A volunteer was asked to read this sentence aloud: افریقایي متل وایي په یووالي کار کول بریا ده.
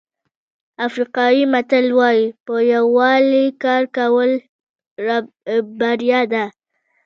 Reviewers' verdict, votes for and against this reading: rejected, 1, 2